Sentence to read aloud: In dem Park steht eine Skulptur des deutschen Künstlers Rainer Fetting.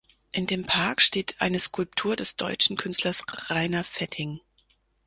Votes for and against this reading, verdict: 2, 0, accepted